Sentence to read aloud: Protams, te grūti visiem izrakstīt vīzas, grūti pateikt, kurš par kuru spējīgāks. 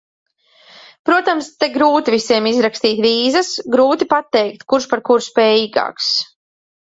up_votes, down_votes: 2, 0